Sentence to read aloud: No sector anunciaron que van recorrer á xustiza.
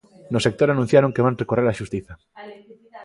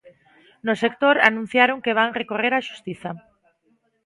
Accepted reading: second